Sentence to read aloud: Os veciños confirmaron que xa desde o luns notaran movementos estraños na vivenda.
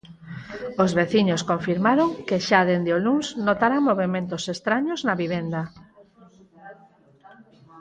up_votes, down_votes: 0, 4